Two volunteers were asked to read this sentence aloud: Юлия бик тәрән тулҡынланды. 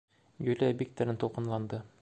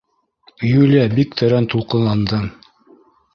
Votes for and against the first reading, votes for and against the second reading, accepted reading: 2, 0, 0, 2, first